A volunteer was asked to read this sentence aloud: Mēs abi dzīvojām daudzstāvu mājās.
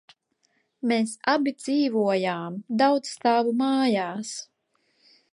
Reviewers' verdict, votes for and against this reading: accepted, 4, 0